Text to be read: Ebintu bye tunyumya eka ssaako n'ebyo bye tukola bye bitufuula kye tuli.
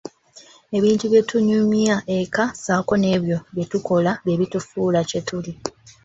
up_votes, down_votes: 3, 1